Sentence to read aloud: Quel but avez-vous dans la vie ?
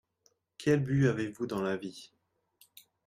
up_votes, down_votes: 2, 0